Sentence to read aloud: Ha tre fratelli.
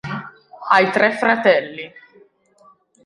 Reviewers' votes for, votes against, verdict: 0, 2, rejected